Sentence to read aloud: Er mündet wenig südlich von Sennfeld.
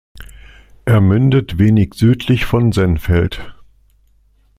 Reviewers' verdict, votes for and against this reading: accepted, 2, 0